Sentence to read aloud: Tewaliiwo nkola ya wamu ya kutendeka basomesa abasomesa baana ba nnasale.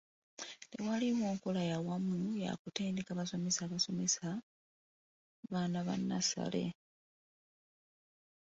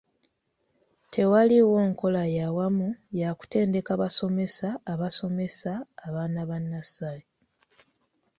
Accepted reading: second